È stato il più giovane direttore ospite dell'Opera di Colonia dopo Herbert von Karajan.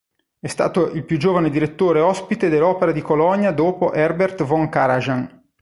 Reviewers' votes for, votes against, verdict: 1, 2, rejected